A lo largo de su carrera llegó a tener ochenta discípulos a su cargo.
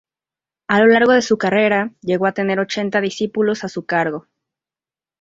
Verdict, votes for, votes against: accepted, 2, 0